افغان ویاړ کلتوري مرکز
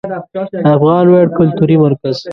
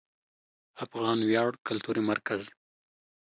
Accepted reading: second